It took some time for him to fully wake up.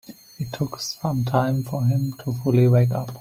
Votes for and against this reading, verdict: 3, 0, accepted